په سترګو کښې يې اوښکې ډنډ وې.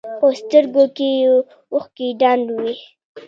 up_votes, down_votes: 1, 2